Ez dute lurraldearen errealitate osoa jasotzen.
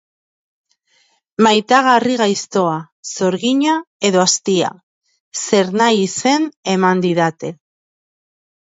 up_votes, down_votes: 0, 3